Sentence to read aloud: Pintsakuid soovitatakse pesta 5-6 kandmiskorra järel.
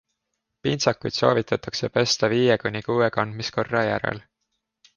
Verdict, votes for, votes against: rejected, 0, 2